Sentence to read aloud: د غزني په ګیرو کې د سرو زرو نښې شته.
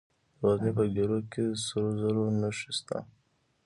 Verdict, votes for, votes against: accepted, 2, 0